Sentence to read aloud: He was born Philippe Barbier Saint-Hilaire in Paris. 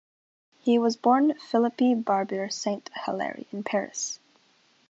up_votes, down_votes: 0, 2